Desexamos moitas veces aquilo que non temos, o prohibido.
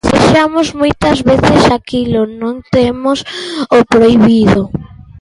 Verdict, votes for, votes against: rejected, 0, 2